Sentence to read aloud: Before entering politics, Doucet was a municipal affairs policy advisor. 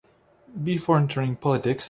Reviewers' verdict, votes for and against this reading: rejected, 0, 2